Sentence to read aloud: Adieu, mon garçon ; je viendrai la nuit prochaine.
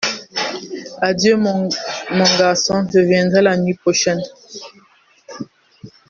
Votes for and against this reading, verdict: 1, 2, rejected